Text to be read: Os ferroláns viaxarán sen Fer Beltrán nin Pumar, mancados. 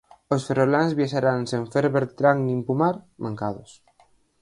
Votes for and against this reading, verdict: 2, 4, rejected